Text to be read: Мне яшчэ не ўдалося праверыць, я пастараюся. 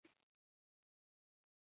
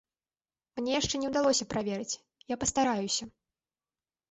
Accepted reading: second